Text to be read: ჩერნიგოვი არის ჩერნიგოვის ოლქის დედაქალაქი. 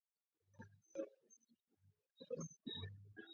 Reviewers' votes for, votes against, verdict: 0, 2, rejected